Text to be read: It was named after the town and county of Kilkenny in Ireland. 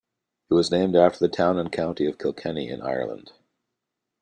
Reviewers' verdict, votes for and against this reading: accepted, 2, 0